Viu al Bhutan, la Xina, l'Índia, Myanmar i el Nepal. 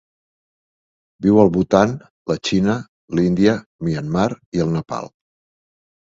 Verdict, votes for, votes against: accepted, 2, 0